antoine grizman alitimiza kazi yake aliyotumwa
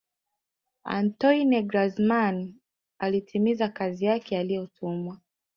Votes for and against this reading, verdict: 2, 0, accepted